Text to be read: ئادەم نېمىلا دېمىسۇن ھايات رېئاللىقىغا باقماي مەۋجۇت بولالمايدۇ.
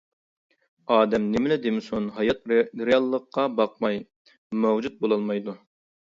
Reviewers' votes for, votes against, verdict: 1, 2, rejected